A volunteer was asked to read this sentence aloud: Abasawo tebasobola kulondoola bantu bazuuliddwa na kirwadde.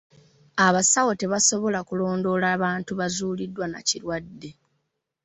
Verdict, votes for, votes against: rejected, 1, 2